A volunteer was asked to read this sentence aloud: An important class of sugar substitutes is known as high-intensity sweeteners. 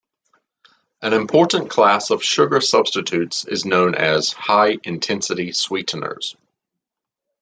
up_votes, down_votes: 2, 0